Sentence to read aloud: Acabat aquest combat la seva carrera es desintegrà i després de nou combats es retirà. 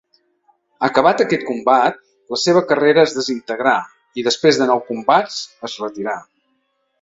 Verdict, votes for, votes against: accepted, 2, 0